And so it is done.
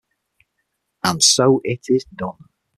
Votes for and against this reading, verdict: 6, 0, accepted